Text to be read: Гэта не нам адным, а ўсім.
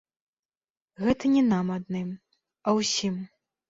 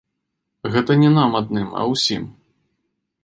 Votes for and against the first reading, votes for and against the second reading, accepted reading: 0, 2, 2, 0, second